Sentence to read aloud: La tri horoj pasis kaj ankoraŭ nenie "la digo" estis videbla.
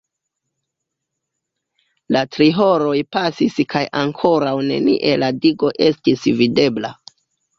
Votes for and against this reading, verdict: 2, 1, accepted